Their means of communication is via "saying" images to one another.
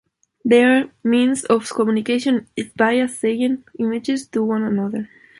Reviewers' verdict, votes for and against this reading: accepted, 2, 1